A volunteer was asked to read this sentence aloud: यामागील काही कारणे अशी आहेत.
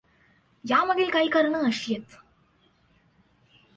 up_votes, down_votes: 2, 0